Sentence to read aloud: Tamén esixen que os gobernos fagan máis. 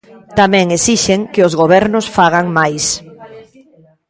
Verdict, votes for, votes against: rejected, 0, 2